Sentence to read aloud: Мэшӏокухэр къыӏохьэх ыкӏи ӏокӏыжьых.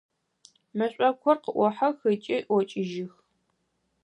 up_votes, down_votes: 4, 0